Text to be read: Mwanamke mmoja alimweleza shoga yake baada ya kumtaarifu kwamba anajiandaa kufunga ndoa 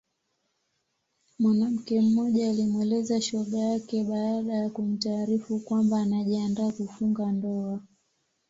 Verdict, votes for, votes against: accepted, 2, 0